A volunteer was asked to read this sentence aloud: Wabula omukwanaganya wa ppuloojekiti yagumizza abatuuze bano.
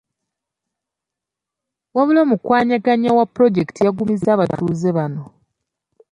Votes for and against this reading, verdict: 2, 0, accepted